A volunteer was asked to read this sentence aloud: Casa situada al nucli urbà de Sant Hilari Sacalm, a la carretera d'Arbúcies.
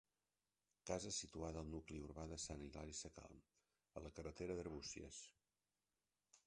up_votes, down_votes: 0, 2